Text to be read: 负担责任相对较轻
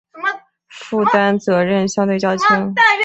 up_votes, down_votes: 2, 0